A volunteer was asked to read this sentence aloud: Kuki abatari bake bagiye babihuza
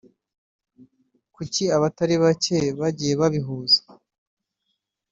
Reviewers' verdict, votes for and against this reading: accepted, 2, 0